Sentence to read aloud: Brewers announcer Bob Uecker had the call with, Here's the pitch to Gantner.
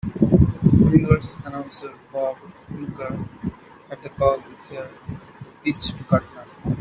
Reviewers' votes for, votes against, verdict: 0, 2, rejected